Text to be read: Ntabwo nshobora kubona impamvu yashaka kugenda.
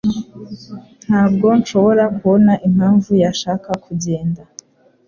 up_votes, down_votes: 3, 0